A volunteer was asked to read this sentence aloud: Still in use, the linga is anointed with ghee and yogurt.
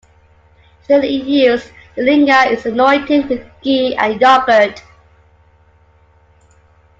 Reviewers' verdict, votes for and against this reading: accepted, 2, 1